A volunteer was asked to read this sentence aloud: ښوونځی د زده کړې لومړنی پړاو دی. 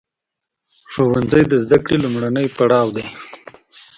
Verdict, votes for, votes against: accepted, 2, 0